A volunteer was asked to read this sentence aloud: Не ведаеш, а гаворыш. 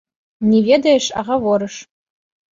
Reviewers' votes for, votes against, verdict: 2, 0, accepted